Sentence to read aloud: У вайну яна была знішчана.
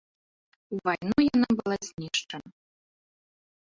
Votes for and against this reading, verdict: 0, 2, rejected